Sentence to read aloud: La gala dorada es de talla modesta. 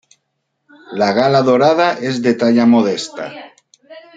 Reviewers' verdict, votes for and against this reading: accepted, 2, 0